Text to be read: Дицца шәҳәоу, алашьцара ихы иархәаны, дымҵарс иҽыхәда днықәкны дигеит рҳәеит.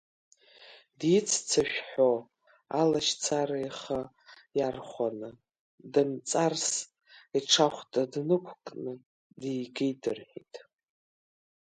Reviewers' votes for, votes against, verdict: 0, 3, rejected